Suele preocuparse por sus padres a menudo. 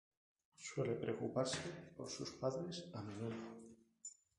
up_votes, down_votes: 0, 2